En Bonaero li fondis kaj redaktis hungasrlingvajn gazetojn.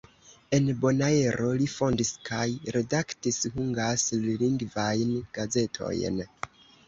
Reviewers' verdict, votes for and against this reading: rejected, 1, 2